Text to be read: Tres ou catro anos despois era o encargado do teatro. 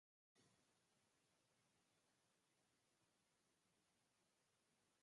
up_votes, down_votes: 0, 4